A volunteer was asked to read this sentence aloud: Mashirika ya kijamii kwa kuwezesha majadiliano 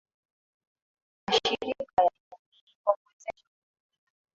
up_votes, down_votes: 0, 2